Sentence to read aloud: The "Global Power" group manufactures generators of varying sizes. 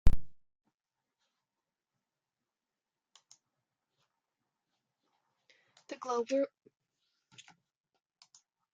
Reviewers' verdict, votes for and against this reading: rejected, 0, 2